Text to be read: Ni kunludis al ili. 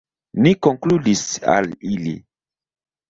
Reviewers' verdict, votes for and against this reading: rejected, 1, 2